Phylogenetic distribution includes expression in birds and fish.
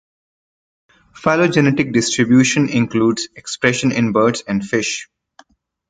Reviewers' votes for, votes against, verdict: 2, 0, accepted